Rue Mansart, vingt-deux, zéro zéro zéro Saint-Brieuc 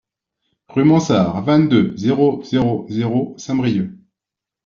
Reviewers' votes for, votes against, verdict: 2, 0, accepted